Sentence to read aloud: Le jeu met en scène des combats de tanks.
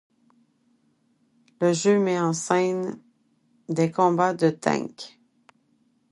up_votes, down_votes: 2, 0